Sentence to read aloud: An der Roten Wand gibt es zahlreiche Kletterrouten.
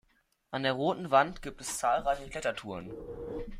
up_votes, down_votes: 1, 2